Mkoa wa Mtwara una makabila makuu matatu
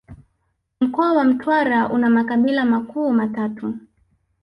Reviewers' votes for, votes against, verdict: 0, 2, rejected